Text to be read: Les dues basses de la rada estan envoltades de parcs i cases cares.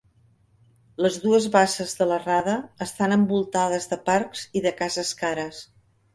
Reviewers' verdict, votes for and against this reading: rejected, 0, 2